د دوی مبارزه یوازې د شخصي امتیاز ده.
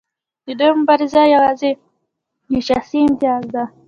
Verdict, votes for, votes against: rejected, 1, 2